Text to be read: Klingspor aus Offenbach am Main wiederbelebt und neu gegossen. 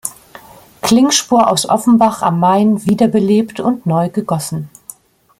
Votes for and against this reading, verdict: 2, 0, accepted